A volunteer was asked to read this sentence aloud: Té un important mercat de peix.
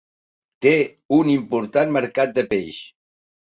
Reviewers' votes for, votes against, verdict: 4, 0, accepted